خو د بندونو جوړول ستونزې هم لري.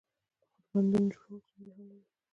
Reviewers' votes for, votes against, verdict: 2, 1, accepted